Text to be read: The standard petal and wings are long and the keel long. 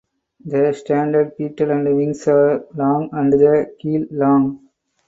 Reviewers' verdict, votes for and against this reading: accepted, 4, 0